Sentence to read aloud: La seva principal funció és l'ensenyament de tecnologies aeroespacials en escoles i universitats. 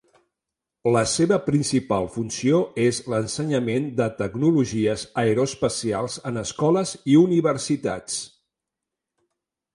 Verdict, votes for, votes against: accepted, 2, 0